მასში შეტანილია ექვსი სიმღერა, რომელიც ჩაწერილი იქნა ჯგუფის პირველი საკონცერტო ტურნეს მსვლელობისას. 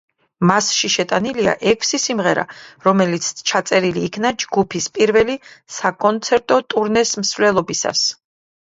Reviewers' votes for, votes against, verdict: 1, 2, rejected